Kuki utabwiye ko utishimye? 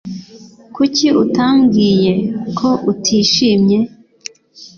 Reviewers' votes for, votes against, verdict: 0, 2, rejected